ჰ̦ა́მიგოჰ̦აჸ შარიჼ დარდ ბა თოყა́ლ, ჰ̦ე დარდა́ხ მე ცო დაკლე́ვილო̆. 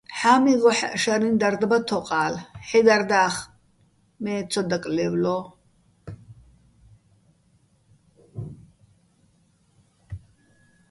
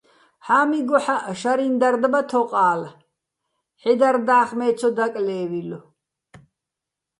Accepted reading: second